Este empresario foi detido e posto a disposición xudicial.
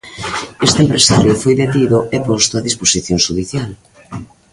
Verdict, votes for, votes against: accepted, 2, 1